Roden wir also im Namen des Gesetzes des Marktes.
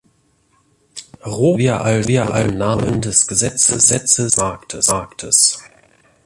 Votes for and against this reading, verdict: 0, 2, rejected